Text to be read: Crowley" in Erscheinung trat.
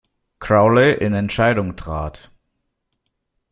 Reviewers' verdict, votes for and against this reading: rejected, 0, 2